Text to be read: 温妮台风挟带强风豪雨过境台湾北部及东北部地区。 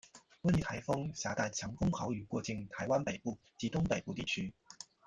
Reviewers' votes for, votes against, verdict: 0, 2, rejected